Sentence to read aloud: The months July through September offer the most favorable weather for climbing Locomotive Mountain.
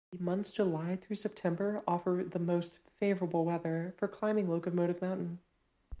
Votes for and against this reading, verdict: 1, 2, rejected